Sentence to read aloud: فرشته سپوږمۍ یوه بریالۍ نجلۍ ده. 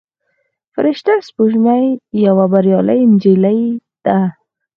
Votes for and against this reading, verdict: 4, 0, accepted